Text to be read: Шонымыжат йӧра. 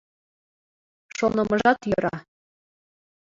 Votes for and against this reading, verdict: 2, 1, accepted